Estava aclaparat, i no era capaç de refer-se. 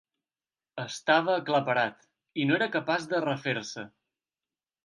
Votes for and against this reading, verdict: 2, 0, accepted